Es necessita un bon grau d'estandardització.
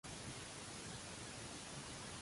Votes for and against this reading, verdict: 0, 3, rejected